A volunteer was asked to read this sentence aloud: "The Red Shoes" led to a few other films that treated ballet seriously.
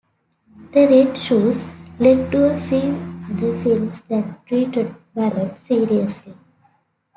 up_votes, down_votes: 2, 1